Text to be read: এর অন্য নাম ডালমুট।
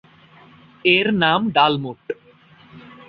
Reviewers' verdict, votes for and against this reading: rejected, 2, 2